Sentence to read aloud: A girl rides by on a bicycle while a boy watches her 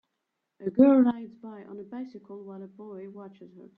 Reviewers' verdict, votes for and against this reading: accepted, 3, 1